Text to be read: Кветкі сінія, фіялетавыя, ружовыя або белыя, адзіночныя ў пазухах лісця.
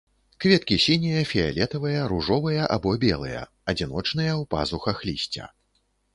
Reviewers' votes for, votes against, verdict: 2, 0, accepted